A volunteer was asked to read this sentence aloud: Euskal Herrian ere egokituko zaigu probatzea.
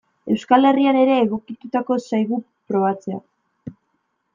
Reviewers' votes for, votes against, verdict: 1, 2, rejected